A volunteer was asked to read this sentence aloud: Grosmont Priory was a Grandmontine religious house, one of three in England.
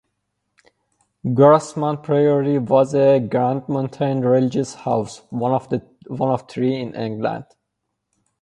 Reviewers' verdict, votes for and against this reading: rejected, 0, 2